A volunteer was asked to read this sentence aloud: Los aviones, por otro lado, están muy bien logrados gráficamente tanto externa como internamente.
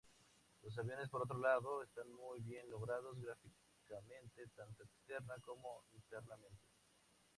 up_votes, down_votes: 2, 0